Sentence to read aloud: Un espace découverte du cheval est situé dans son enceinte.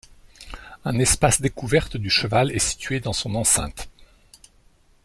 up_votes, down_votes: 2, 0